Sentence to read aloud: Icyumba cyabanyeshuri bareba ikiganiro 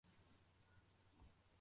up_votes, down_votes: 0, 2